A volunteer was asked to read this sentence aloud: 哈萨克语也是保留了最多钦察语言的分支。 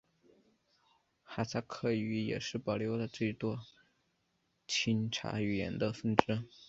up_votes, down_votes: 5, 1